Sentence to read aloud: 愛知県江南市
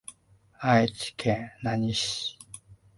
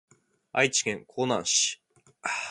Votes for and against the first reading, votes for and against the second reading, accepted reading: 1, 2, 2, 1, second